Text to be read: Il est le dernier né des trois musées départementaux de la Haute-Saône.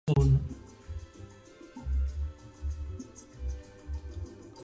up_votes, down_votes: 0, 2